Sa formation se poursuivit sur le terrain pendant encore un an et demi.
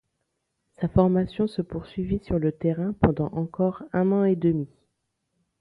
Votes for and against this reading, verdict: 2, 1, accepted